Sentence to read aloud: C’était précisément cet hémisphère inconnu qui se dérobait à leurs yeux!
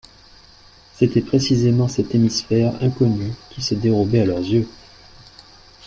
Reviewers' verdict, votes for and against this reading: accepted, 2, 0